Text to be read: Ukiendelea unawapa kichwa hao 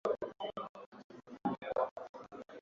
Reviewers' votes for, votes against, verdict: 1, 2, rejected